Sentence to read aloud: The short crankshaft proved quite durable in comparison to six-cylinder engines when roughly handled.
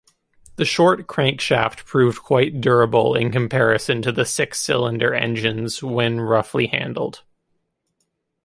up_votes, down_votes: 0, 2